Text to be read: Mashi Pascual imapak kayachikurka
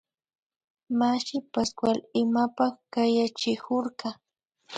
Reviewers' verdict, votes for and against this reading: accepted, 2, 0